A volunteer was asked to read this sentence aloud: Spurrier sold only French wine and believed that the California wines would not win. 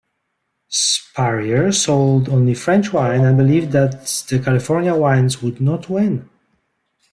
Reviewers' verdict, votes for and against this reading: rejected, 0, 2